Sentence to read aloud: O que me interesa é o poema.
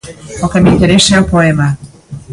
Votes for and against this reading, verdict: 2, 1, accepted